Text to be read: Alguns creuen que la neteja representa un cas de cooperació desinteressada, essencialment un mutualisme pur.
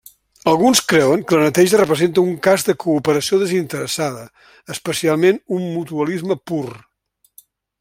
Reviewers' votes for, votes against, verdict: 1, 2, rejected